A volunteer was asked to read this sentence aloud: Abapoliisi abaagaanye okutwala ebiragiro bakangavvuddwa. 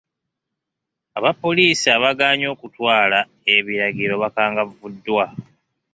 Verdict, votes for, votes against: accepted, 2, 0